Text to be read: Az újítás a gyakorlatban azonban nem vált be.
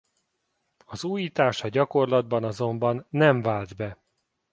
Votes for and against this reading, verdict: 2, 0, accepted